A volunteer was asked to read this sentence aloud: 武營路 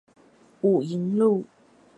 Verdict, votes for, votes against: rejected, 2, 2